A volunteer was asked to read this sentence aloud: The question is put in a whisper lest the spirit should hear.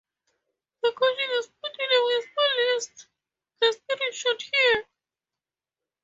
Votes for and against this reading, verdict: 2, 8, rejected